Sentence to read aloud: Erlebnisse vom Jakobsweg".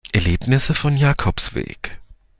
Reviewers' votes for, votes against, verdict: 1, 2, rejected